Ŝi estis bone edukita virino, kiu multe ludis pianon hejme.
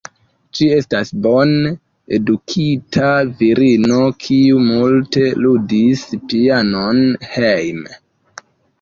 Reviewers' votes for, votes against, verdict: 2, 1, accepted